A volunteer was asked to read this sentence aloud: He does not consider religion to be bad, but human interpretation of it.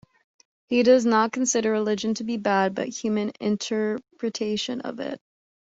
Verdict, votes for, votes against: accepted, 2, 0